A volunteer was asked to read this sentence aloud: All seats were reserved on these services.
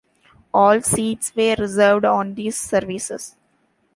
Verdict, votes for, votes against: accepted, 2, 0